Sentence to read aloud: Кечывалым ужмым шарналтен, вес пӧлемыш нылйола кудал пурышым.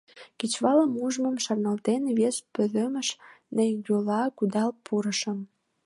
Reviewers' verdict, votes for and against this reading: accepted, 2, 0